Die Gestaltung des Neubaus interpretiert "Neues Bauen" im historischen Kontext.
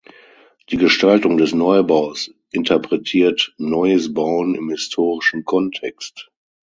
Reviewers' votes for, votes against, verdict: 6, 0, accepted